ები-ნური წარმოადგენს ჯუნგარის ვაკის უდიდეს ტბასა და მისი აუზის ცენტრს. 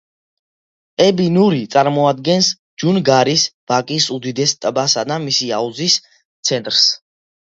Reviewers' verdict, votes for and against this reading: accepted, 2, 0